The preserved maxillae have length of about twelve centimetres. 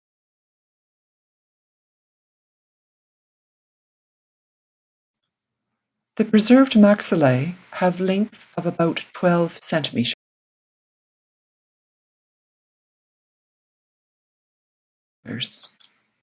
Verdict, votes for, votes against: rejected, 1, 2